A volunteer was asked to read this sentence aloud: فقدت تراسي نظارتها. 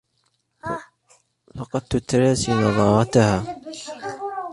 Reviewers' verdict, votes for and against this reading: rejected, 0, 2